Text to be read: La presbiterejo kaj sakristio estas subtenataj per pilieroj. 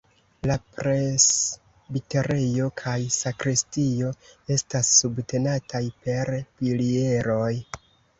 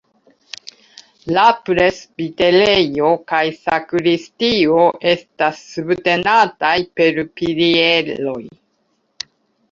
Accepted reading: second